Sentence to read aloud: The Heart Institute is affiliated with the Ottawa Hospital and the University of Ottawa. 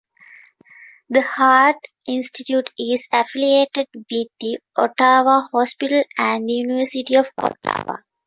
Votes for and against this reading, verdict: 0, 2, rejected